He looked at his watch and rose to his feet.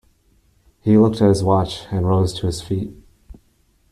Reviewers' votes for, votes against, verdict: 0, 2, rejected